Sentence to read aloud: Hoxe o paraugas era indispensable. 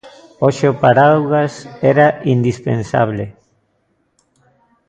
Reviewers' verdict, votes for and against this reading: rejected, 1, 2